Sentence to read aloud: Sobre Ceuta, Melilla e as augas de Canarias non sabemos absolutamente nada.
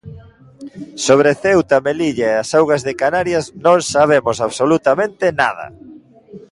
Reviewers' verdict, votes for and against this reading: accepted, 2, 0